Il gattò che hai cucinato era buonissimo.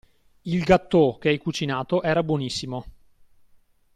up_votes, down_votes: 2, 0